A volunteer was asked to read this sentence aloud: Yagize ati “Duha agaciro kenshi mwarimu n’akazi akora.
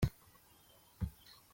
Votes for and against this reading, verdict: 0, 2, rejected